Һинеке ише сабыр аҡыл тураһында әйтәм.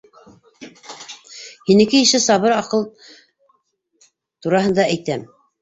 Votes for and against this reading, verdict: 1, 2, rejected